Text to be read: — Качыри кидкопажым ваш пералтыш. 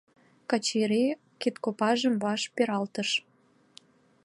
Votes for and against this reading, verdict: 2, 0, accepted